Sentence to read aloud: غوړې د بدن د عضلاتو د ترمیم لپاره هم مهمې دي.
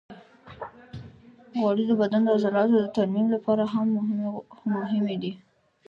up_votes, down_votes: 1, 3